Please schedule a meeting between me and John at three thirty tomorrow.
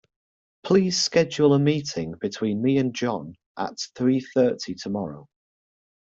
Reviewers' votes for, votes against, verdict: 2, 0, accepted